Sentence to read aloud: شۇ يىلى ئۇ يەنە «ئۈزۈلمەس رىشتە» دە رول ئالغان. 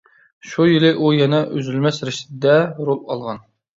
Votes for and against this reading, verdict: 2, 0, accepted